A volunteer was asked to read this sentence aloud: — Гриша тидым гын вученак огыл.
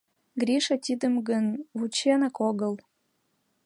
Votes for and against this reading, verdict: 1, 2, rejected